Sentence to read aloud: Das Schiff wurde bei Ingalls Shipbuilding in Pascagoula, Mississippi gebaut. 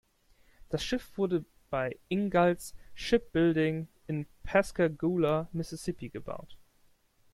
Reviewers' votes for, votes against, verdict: 2, 0, accepted